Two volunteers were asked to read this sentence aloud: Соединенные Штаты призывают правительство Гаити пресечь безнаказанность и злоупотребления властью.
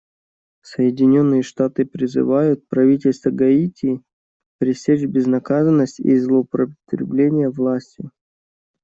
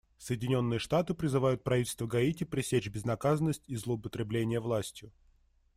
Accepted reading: second